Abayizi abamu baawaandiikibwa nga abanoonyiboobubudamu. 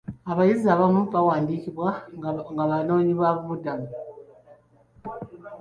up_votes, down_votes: 3, 2